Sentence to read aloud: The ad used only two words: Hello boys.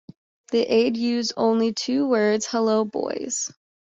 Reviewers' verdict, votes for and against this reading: accepted, 2, 1